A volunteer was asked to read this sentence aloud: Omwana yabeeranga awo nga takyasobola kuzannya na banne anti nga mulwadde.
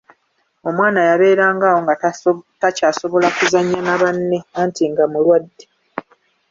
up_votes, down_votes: 0, 2